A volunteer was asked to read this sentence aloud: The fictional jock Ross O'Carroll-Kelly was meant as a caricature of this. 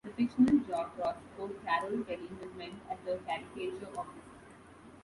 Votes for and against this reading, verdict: 0, 2, rejected